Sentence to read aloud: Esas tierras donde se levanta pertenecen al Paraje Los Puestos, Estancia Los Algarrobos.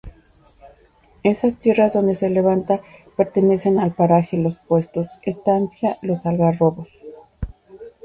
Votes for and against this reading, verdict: 2, 0, accepted